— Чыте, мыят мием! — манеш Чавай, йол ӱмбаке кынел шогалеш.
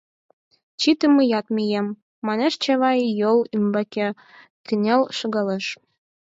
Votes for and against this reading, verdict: 0, 4, rejected